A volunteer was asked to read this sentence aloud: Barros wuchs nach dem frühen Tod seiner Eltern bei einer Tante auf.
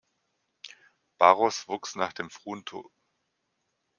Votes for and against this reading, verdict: 0, 2, rejected